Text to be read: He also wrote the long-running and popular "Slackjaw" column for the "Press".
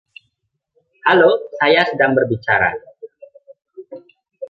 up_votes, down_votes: 1, 2